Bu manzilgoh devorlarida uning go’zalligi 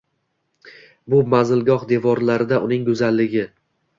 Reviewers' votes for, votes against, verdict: 2, 0, accepted